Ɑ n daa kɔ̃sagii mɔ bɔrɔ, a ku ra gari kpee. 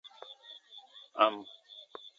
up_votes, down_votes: 0, 2